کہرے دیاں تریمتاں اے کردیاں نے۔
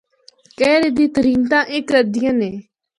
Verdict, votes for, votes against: accepted, 2, 0